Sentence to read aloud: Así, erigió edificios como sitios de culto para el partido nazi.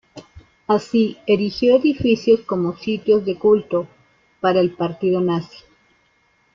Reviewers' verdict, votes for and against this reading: accepted, 2, 0